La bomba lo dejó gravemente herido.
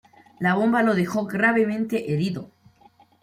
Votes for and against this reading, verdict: 2, 1, accepted